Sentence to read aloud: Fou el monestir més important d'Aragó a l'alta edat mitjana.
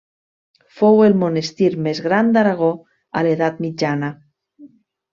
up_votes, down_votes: 0, 2